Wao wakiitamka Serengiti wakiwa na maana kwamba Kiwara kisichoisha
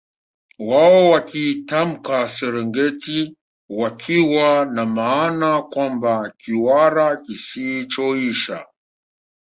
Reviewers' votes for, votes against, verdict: 2, 1, accepted